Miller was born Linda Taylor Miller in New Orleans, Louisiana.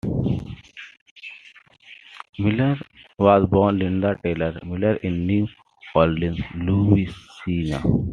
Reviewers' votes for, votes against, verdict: 1, 2, rejected